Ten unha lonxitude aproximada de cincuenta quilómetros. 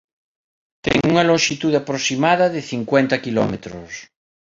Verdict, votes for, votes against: rejected, 0, 2